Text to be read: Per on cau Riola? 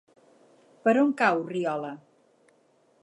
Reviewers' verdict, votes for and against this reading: accepted, 6, 0